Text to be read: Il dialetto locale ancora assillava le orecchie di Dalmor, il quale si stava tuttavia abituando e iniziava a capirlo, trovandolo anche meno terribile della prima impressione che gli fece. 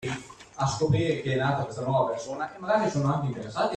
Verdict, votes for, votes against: rejected, 0, 2